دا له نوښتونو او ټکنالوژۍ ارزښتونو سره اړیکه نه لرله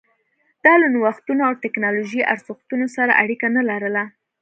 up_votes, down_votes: 2, 0